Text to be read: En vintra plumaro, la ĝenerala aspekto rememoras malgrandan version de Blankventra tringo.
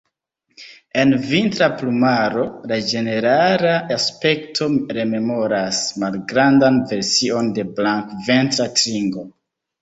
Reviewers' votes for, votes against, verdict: 1, 2, rejected